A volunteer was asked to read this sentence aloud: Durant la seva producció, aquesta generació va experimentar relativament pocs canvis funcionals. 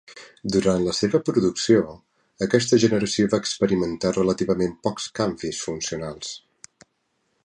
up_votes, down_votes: 3, 0